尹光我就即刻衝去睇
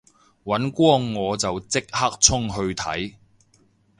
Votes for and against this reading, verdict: 4, 0, accepted